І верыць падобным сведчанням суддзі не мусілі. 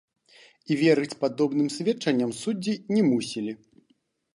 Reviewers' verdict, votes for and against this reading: accepted, 2, 1